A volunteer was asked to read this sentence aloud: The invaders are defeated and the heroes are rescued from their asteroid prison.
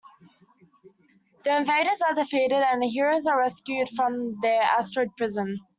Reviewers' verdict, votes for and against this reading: accepted, 2, 0